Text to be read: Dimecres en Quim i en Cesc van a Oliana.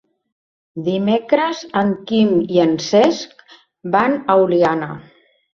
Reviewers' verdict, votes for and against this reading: accepted, 2, 0